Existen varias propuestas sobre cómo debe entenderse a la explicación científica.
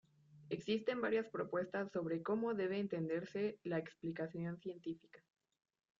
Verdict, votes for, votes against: rejected, 0, 2